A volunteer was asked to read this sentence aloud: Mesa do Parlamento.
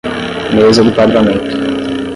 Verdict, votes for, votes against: rejected, 5, 5